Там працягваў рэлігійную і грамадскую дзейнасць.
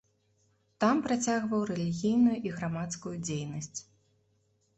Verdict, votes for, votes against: accepted, 2, 0